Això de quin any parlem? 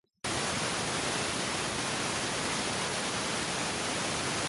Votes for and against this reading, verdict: 0, 2, rejected